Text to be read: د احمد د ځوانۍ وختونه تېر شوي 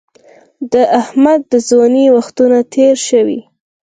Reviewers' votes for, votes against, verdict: 4, 0, accepted